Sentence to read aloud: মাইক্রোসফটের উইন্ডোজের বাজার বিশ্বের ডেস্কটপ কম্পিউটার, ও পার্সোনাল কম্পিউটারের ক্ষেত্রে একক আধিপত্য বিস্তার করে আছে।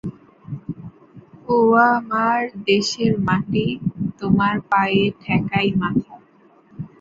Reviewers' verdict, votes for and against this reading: rejected, 1, 8